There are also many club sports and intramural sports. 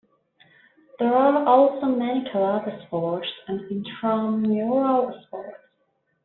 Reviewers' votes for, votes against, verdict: 1, 2, rejected